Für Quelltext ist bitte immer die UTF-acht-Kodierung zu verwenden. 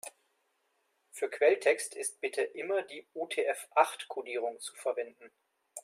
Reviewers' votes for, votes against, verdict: 2, 0, accepted